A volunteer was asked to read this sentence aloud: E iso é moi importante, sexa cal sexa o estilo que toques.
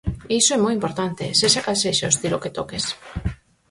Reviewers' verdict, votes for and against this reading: rejected, 2, 4